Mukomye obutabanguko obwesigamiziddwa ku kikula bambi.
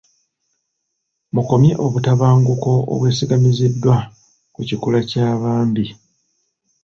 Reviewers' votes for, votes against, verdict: 1, 3, rejected